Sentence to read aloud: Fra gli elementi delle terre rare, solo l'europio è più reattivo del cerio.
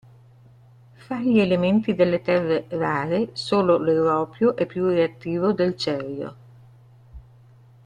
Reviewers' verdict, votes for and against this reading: rejected, 0, 2